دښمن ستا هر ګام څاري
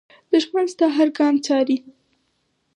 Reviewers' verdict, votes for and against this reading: accepted, 4, 2